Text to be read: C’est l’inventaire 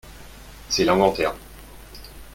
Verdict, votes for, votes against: accepted, 4, 0